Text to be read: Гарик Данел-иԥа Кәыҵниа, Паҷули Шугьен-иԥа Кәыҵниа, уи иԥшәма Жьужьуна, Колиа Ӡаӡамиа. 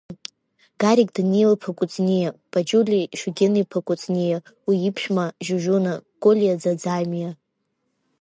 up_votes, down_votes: 2, 0